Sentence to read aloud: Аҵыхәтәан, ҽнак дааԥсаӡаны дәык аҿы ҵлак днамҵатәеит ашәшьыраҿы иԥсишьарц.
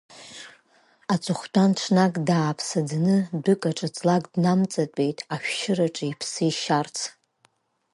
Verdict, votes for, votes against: rejected, 0, 2